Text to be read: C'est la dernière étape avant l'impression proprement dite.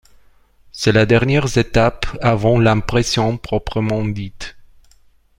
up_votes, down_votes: 1, 2